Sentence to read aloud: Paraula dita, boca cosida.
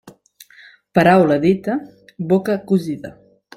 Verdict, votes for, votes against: accepted, 4, 0